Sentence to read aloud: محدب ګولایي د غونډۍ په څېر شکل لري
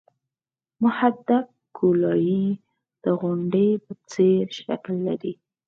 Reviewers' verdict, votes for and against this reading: accepted, 4, 0